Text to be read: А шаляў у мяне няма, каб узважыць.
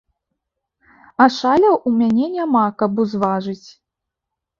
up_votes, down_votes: 2, 0